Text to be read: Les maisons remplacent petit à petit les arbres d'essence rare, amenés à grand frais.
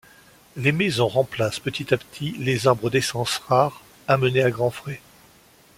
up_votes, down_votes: 2, 0